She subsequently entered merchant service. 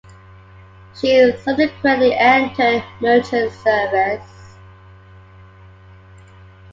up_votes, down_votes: 2, 0